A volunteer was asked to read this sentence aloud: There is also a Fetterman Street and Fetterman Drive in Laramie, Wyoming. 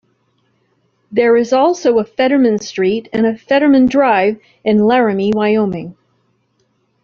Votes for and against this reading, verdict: 0, 2, rejected